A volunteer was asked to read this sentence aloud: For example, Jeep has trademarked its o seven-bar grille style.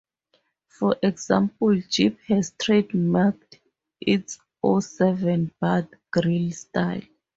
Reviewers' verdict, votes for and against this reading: rejected, 2, 2